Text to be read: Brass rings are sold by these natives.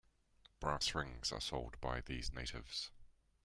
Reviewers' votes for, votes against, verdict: 2, 0, accepted